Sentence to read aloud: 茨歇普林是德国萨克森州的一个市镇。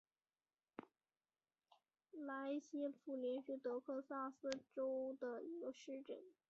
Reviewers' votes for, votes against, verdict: 0, 2, rejected